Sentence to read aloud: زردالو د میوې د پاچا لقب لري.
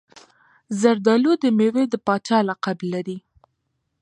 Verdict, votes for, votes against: accepted, 2, 0